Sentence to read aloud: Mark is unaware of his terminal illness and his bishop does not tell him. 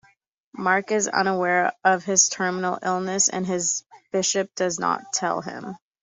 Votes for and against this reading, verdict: 2, 0, accepted